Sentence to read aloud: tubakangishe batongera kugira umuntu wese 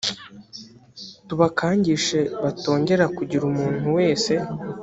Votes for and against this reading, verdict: 2, 0, accepted